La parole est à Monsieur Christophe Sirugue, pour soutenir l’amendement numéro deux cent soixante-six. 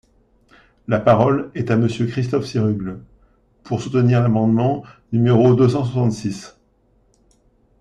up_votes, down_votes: 2, 0